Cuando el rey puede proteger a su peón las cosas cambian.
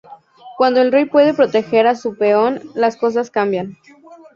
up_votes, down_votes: 2, 0